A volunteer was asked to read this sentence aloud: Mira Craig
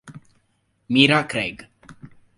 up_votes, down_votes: 3, 0